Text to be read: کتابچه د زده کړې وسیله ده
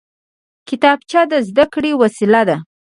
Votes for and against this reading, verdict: 0, 2, rejected